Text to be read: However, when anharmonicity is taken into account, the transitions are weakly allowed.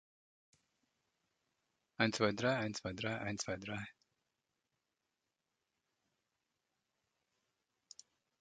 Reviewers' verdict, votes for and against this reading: rejected, 0, 2